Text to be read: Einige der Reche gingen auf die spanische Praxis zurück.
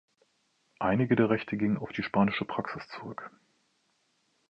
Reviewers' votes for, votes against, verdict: 1, 2, rejected